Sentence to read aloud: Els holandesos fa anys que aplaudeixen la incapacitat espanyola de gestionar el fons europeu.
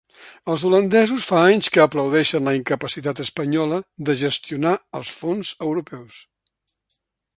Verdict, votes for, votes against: rejected, 1, 2